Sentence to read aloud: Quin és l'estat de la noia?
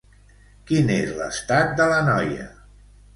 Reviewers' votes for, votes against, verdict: 2, 0, accepted